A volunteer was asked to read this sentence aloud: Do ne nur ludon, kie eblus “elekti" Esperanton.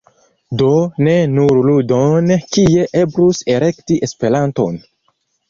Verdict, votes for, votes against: accepted, 2, 0